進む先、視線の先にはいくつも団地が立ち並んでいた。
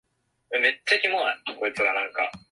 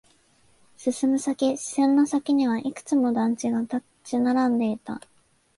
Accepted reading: second